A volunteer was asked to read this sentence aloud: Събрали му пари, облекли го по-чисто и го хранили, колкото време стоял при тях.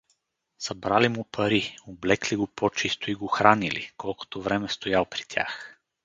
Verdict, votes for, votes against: accepted, 2, 0